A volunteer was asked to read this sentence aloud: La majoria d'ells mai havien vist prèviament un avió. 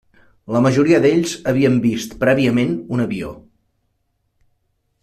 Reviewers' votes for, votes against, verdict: 0, 2, rejected